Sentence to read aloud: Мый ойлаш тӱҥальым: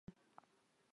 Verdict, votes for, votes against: rejected, 1, 3